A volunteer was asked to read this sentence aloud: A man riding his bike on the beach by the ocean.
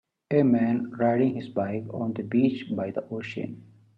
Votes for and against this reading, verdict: 2, 0, accepted